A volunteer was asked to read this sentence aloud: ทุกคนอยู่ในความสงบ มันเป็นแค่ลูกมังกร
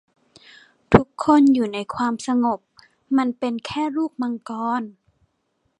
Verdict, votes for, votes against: accepted, 2, 0